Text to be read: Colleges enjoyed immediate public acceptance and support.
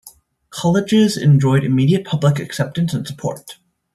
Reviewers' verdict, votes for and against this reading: rejected, 1, 2